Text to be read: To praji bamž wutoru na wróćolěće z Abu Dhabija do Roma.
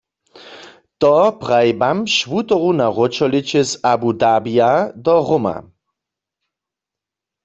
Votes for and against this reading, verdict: 2, 0, accepted